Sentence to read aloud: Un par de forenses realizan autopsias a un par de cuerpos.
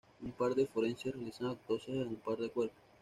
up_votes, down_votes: 2, 0